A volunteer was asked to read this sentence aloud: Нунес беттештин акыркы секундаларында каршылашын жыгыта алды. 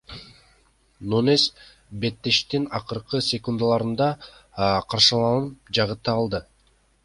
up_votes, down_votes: 0, 2